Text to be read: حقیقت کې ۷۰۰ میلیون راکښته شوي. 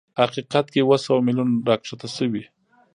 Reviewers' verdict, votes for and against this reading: rejected, 0, 2